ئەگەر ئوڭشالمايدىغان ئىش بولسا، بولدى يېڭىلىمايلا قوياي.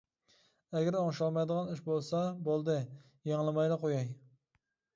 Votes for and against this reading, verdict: 0, 2, rejected